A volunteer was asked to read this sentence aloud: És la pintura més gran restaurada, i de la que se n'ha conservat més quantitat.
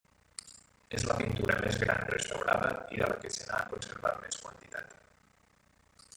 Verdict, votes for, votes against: rejected, 0, 2